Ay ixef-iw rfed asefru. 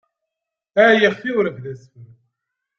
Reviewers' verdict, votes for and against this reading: rejected, 0, 2